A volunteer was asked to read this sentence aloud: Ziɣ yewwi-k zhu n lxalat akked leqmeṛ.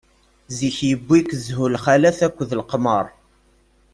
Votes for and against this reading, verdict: 1, 2, rejected